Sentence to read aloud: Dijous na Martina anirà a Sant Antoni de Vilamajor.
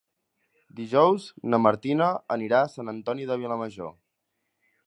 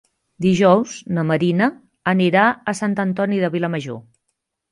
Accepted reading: first